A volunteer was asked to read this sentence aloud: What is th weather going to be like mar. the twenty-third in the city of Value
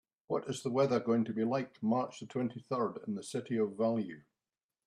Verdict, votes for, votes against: rejected, 0, 3